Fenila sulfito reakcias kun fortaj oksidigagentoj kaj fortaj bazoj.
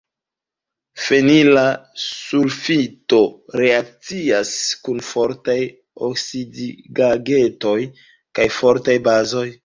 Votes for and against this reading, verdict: 1, 2, rejected